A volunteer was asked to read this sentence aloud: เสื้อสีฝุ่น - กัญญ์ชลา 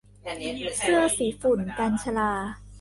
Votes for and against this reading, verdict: 1, 2, rejected